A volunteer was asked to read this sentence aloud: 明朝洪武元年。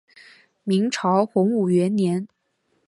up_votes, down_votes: 2, 0